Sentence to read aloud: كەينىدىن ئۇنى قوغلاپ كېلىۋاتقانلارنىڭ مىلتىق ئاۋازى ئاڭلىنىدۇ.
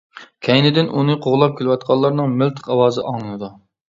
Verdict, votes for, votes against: accepted, 2, 0